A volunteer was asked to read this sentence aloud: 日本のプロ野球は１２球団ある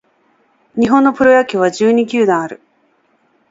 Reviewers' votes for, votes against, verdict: 0, 2, rejected